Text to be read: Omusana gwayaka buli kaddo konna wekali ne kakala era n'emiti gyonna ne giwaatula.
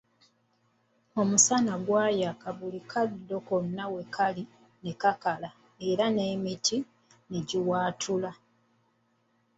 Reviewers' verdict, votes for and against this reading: rejected, 1, 2